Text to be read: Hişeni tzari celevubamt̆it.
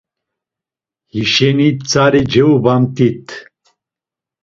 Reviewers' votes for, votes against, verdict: 1, 2, rejected